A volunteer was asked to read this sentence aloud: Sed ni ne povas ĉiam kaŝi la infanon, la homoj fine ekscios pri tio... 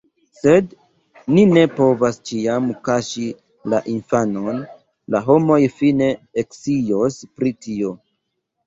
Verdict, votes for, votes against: rejected, 1, 2